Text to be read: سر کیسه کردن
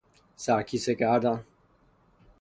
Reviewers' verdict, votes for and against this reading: accepted, 3, 0